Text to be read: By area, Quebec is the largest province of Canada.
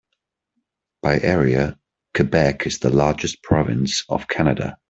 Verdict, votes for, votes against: accepted, 2, 0